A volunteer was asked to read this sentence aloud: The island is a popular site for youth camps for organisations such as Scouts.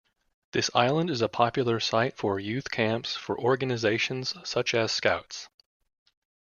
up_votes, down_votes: 0, 2